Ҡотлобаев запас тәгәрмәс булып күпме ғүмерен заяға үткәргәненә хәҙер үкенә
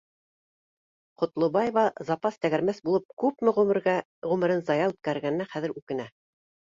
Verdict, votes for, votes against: rejected, 0, 2